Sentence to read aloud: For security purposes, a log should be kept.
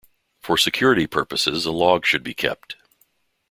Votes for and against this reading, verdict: 2, 0, accepted